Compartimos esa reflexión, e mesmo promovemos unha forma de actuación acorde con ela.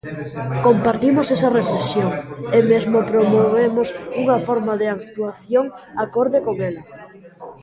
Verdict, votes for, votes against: rejected, 0, 2